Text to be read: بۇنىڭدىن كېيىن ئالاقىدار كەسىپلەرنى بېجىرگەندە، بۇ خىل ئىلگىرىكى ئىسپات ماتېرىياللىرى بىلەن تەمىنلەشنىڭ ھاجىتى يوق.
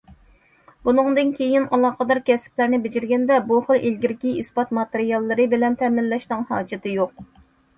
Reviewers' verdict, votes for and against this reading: accepted, 2, 0